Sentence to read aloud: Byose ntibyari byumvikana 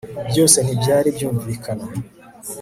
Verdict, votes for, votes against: accepted, 3, 0